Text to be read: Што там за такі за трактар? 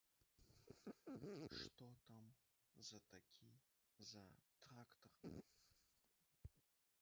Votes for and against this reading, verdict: 1, 2, rejected